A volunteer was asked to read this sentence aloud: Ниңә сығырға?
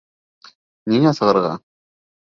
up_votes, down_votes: 3, 0